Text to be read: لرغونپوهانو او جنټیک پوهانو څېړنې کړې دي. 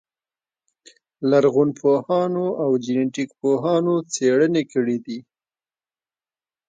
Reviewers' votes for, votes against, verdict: 2, 0, accepted